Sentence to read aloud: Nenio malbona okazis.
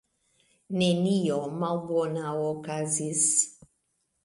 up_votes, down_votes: 2, 0